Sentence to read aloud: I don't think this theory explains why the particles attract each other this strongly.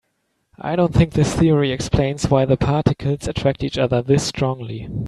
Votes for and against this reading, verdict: 3, 0, accepted